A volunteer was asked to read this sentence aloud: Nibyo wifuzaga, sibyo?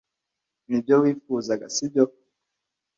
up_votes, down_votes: 2, 0